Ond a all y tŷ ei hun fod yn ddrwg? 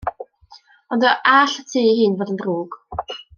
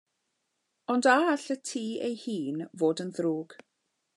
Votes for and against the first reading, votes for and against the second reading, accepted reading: 1, 2, 2, 0, second